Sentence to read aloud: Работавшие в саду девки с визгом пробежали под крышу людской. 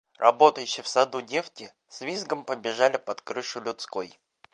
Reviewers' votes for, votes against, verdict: 0, 2, rejected